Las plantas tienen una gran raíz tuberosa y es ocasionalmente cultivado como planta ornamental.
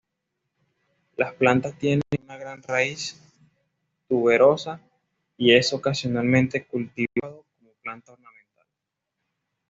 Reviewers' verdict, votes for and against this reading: rejected, 1, 2